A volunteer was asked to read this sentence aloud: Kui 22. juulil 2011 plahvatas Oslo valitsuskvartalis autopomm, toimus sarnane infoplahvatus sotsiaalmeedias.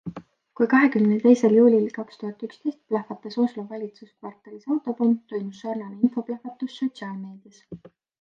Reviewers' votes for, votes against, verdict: 0, 2, rejected